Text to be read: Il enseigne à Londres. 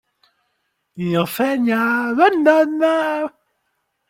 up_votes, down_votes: 0, 2